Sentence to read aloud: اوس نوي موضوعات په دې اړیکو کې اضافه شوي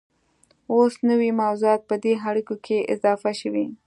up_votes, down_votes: 2, 0